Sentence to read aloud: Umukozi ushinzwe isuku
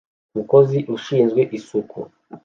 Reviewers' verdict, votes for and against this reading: accepted, 2, 0